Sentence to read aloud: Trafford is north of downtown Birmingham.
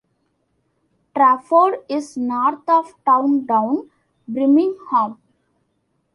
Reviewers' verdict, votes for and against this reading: accepted, 2, 0